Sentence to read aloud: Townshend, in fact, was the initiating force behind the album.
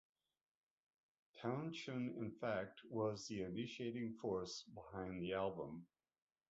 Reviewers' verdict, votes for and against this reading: accepted, 2, 0